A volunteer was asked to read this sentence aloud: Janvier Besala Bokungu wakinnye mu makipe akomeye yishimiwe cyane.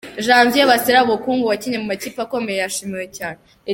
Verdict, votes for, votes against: rejected, 1, 2